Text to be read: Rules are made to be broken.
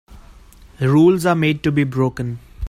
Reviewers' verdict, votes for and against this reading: rejected, 0, 2